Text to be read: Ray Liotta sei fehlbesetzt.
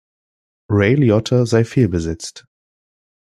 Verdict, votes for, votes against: accepted, 2, 0